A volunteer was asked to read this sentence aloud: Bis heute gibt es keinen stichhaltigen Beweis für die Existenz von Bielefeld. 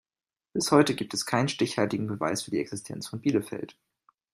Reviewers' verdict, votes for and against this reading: accepted, 2, 0